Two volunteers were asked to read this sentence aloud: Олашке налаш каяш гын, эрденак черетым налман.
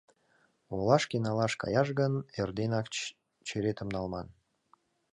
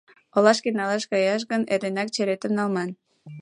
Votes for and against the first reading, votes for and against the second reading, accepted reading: 0, 2, 2, 1, second